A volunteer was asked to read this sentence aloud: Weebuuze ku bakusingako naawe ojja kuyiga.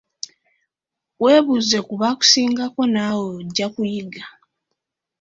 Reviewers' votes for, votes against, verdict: 2, 0, accepted